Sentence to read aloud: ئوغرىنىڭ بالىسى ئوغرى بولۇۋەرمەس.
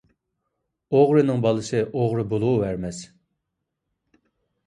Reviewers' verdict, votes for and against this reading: accepted, 2, 0